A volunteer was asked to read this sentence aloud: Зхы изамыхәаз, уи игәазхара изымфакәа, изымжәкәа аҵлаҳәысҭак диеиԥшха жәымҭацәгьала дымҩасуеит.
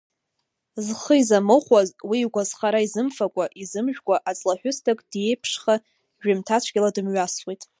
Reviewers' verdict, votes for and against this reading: rejected, 0, 2